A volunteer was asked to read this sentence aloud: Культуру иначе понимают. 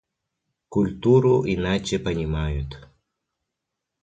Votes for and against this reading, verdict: 1, 2, rejected